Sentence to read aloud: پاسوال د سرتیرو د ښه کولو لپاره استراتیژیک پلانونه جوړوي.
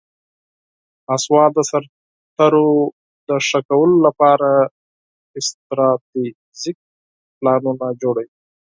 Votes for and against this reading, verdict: 0, 4, rejected